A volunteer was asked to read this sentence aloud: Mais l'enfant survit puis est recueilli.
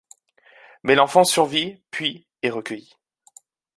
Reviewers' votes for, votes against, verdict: 2, 0, accepted